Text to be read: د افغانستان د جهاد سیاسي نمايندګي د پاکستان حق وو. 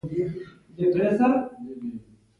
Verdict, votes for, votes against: accepted, 2, 0